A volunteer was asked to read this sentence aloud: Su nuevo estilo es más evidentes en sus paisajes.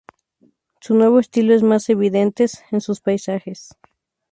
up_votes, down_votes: 2, 0